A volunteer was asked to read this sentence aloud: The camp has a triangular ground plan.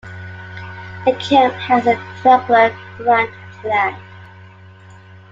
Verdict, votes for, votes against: rejected, 0, 2